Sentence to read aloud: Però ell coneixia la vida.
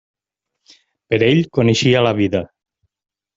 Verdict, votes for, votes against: rejected, 0, 2